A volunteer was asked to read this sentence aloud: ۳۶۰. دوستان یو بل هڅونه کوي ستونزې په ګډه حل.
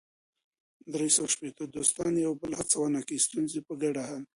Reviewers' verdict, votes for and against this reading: rejected, 0, 2